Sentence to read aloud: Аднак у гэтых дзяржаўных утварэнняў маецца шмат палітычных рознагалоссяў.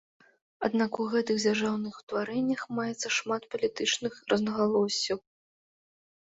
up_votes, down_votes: 1, 2